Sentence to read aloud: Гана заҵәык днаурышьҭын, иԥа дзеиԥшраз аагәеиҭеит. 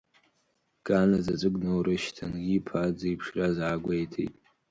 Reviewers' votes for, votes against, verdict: 2, 0, accepted